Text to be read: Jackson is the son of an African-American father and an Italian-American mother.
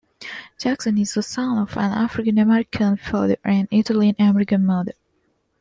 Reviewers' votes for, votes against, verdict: 2, 0, accepted